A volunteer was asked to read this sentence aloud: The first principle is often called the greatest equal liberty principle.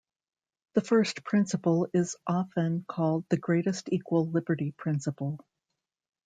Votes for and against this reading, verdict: 1, 2, rejected